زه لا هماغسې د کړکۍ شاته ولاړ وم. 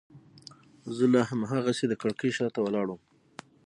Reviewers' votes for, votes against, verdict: 9, 0, accepted